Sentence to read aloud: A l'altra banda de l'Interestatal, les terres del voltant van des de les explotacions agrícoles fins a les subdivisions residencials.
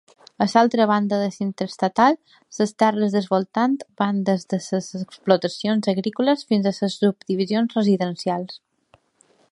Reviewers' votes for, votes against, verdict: 2, 1, accepted